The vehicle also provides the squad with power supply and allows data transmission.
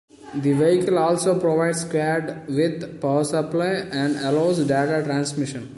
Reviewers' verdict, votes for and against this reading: rejected, 0, 2